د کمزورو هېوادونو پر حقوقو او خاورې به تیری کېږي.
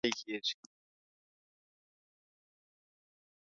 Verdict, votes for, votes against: rejected, 1, 2